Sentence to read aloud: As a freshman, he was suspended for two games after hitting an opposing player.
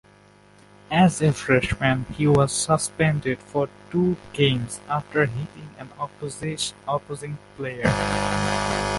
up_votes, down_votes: 1, 2